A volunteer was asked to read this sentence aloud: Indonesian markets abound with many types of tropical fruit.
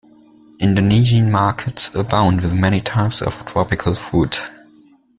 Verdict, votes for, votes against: accepted, 2, 0